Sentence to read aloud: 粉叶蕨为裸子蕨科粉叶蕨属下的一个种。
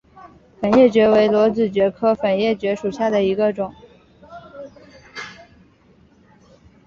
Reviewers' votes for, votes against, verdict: 4, 0, accepted